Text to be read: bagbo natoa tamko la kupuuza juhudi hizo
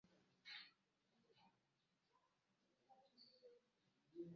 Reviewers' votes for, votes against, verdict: 0, 2, rejected